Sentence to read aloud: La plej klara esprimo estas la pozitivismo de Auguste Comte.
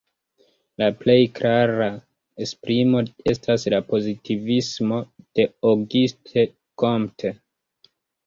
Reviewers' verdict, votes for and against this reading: rejected, 1, 2